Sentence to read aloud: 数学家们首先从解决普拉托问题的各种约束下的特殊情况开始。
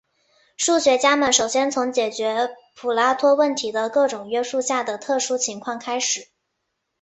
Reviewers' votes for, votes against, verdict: 2, 1, accepted